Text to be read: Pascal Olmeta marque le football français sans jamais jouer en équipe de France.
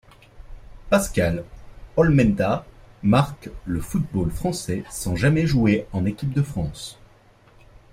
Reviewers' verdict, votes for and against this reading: rejected, 0, 2